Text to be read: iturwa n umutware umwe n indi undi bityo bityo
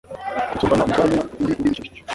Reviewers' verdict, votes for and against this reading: rejected, 1, 2